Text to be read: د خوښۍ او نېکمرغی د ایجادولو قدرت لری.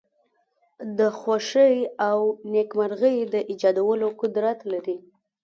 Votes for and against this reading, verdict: 2, 0, accepted